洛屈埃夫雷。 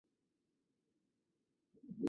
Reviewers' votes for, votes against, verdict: 0, 3, rejected